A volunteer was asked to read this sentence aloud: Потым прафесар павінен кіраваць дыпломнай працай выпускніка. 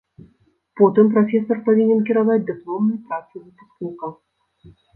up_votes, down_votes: 0, 2